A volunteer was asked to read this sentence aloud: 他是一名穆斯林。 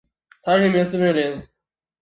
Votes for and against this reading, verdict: 2, 3, rejected